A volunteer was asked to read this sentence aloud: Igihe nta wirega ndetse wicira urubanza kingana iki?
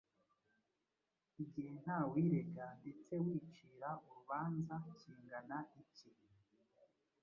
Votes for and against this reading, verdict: 1, 2, rejected